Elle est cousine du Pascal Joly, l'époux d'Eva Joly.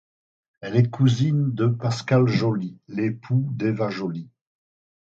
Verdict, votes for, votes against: rejected, 0, 4